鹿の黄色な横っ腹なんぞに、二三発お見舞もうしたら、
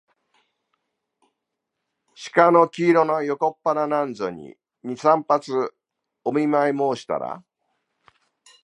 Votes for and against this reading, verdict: 2, 1, accepted